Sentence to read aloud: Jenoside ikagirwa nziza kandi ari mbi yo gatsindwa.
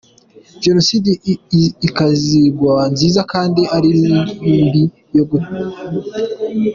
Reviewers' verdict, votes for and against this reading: rejected, 0, 2